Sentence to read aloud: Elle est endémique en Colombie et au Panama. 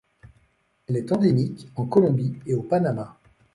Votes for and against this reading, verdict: 1, 2, rejected